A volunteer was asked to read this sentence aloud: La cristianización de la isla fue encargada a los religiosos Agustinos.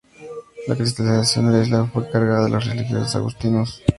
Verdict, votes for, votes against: rejected, 2, 2